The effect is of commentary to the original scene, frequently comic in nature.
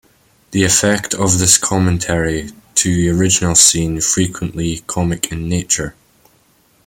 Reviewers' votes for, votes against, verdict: 2, 0, accepted